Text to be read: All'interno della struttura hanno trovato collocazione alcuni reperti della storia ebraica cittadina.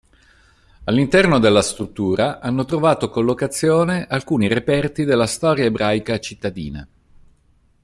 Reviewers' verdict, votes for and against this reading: accepted, 3, 0